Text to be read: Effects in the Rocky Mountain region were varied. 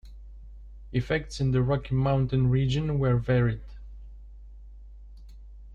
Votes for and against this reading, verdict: 2, 0, accepted